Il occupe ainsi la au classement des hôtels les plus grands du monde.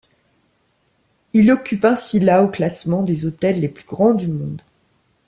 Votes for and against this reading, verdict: 1, 2, rejected